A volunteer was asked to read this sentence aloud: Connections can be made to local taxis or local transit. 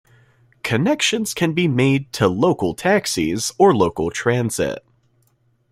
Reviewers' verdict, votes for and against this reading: accepted, 2, 0